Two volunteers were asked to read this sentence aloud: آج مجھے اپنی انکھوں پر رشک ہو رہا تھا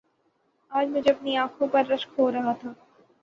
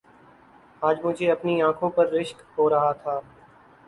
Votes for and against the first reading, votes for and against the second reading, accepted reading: 0, 3, 2, 0, second